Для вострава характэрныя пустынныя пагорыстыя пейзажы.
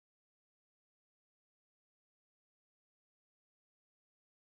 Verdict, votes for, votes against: rejected, 0, 3